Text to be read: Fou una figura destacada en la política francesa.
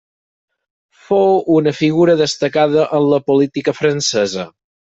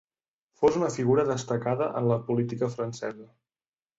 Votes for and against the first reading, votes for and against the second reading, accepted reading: 6, 0, 1, 2, first